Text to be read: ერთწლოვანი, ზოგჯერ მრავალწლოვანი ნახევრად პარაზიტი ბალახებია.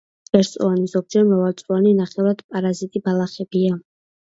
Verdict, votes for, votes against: accepted, 2, 0